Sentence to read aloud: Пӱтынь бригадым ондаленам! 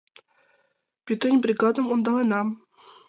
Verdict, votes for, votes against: accepted, 5, 1